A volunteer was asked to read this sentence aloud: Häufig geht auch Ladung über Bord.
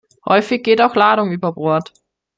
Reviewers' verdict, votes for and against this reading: accepted, 2, 0